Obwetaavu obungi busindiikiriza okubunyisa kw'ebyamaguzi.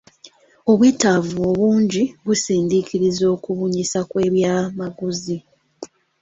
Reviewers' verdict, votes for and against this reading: accepted, 2, 0